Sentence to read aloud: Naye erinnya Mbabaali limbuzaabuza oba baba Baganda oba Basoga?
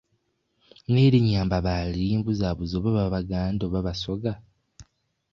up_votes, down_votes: 0, 2